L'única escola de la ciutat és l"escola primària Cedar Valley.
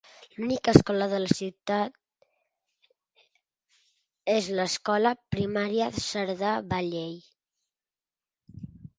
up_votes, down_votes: 1, 2